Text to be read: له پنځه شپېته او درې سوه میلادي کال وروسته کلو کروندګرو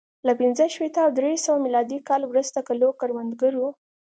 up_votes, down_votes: 2, 0